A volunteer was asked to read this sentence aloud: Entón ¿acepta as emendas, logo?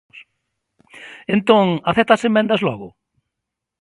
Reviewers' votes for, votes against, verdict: 2, 0, accepted